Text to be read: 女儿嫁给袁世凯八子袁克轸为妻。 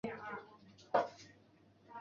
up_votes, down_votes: 1, 5